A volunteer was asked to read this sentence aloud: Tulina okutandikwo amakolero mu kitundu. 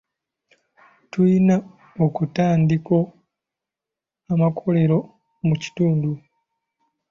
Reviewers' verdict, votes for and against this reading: rejected, 0, 2